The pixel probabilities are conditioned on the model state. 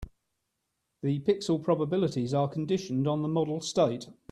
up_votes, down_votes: 3, 0